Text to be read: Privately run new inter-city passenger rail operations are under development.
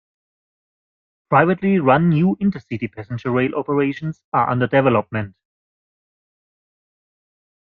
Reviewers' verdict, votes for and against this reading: accepted, 2, 0